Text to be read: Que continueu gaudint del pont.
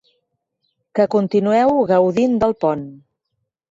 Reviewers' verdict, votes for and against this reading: accepted, 4, 0